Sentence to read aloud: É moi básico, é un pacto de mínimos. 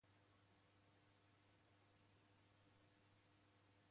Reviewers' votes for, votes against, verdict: 0, 2, rejected